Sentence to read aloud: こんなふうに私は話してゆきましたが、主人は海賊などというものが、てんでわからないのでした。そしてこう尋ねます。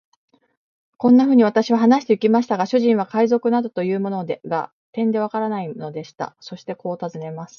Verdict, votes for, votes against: rejected, 1, 2